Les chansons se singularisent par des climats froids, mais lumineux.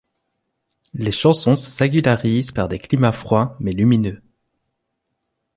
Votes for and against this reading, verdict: 2, 0, accepted